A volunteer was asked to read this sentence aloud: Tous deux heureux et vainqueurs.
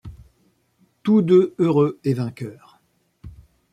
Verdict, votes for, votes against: accepted, 2, 0